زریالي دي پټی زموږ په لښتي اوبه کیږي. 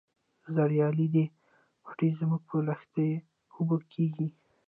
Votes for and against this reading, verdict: 1, 2, rejected